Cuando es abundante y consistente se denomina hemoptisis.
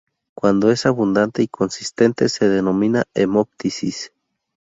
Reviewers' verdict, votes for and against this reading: rejected, 0, 2